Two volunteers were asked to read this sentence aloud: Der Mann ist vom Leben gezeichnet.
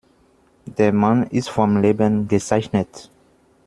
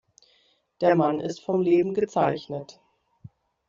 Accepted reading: second